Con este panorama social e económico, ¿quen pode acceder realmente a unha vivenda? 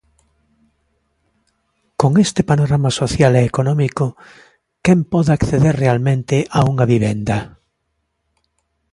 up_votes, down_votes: 2, 0